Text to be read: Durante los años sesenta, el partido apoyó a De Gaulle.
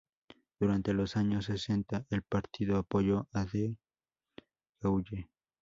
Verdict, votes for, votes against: rejected, 0, 4